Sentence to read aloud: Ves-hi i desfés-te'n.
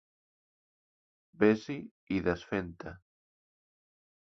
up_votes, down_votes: 0, 2